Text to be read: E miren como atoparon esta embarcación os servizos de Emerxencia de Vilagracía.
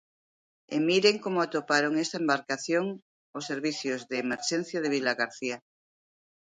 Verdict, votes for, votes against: rejected, 0, 2